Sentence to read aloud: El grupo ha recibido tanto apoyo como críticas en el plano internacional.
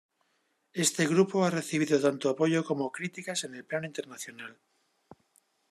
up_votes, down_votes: 0, 2